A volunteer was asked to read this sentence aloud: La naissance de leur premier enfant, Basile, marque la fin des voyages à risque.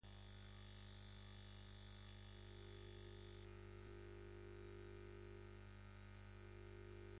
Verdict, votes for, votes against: rejected, 0, 2